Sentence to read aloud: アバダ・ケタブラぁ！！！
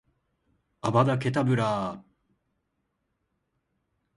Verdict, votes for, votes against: accepted, 2, 0